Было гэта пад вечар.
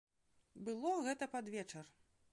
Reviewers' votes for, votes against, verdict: 1, 2, rejected